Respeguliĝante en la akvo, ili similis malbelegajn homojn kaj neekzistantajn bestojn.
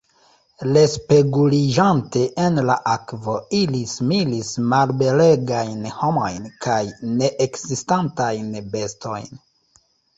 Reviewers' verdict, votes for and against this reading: rejected, 1, 2